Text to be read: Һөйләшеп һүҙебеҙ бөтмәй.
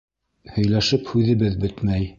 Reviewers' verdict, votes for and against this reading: accepted, 2, 0